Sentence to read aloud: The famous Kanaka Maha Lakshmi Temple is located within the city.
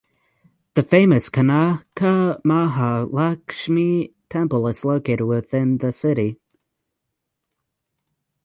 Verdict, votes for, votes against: rejected, 3, 6